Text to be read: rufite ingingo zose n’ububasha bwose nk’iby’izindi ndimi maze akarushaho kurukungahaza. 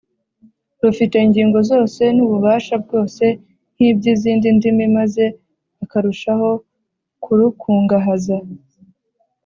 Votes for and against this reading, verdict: 2, 0, accepted